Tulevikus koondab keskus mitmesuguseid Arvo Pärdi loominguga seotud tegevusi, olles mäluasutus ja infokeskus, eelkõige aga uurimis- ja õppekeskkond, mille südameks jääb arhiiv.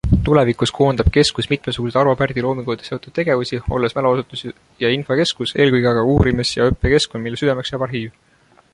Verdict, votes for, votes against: accepted, 2, 0